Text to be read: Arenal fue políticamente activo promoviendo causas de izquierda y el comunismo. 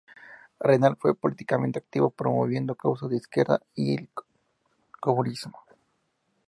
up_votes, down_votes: 0, 2